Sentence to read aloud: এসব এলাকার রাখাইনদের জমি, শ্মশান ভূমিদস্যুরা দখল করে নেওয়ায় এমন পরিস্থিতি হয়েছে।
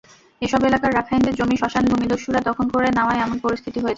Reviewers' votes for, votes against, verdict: 0, 2, rejected